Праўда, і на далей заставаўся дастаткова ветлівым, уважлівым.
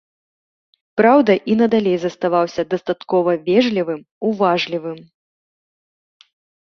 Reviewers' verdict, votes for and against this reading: rejected, 0, 2